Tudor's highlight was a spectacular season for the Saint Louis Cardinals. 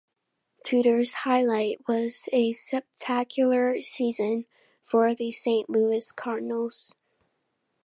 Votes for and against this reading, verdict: 0, 2, rejected